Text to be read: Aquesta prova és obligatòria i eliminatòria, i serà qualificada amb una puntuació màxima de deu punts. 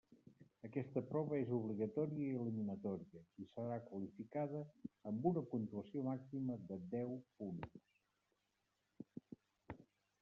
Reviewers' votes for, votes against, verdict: 1, 2, rejected